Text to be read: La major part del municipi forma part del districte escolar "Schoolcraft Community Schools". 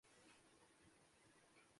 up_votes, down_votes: 0, 2